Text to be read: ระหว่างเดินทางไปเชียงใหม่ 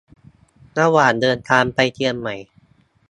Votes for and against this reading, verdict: 1, 3, rejected